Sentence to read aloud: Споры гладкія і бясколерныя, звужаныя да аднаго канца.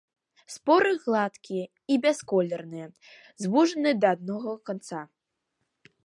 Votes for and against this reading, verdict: 2, 0, accepted